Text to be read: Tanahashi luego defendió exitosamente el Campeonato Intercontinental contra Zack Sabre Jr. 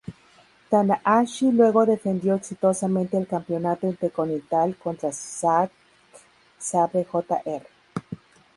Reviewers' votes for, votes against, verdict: 0, 2, rejected